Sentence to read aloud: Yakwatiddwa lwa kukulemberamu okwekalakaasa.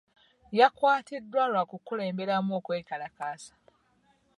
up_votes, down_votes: 3, 0